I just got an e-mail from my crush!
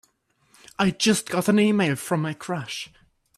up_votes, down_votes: 3, 0